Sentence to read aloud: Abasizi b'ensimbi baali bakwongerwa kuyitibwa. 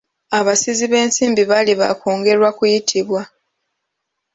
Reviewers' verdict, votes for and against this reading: rejected, 1, 2